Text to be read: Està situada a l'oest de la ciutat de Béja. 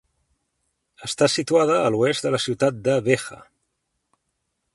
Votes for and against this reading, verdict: 0, 2, rejected